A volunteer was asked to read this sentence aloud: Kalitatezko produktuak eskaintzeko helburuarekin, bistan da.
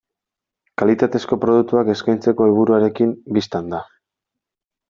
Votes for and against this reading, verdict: 2, 1, accepted